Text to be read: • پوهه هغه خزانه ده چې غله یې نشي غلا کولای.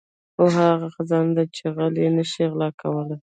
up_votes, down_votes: 1, 2